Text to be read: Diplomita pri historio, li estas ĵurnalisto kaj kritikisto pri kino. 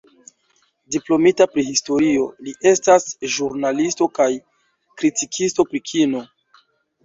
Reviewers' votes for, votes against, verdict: 2, 0, accepted